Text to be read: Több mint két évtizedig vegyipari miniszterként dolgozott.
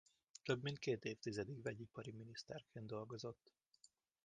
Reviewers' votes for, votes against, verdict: 1, 2, rejected